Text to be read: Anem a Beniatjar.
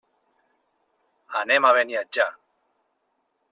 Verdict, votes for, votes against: accepted, 3, 0